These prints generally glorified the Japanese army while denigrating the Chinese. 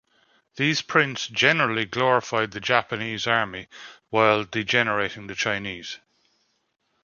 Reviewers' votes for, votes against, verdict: 0, 2, rejected